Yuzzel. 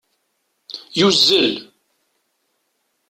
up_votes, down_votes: 2, 0